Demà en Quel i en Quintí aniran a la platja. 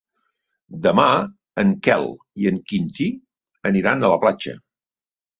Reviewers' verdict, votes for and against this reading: accepted, 3, 0